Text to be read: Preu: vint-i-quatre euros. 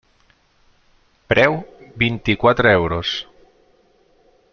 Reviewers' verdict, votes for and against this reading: accepted, 3, 0